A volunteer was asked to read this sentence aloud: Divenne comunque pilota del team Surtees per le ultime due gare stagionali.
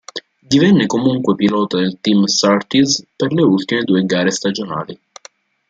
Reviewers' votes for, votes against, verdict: 2, 0, accepted